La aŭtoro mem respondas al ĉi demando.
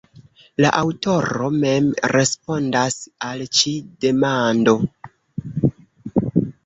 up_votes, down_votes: 0, 2